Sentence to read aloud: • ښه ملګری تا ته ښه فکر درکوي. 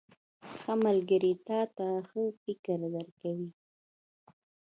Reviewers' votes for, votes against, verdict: 1, 2, rejected